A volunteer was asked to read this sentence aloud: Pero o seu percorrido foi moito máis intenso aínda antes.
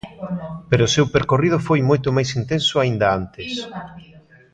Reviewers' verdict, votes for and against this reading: rejected, 0, 2